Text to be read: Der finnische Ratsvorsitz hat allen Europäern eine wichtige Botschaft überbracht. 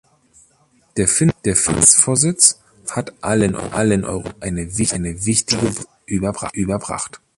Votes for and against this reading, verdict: 0, 2, rejected